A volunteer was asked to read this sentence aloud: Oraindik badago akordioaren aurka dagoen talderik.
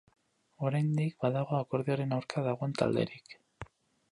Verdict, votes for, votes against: accepted, 4, 0